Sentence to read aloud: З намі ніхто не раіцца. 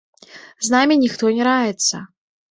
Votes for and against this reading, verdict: 2, 0, accepted